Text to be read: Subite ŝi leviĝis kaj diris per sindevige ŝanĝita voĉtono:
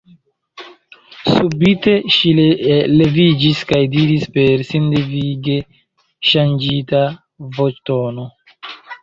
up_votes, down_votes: 1, 2